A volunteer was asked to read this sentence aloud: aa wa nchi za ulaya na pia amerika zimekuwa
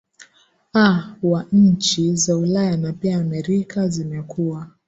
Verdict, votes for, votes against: rejected, 3, 4